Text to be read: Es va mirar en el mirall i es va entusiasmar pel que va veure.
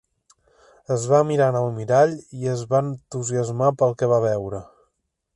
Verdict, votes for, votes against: accepted, 3, 0